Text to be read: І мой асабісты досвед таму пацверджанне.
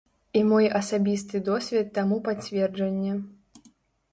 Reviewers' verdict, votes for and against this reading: accepted, 2, 0